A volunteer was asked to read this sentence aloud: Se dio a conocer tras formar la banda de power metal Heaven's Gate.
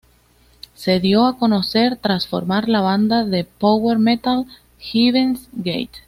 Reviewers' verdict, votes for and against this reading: accepted, 2, 0